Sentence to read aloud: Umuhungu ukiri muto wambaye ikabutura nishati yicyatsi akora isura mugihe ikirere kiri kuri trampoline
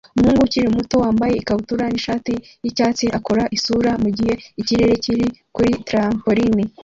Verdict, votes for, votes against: accepted, 2, 0